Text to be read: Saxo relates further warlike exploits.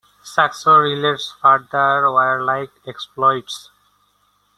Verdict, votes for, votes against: accepted, 2, 0